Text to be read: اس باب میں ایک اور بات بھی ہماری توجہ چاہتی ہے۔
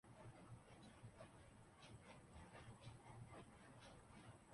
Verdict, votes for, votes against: rejected, 0, 2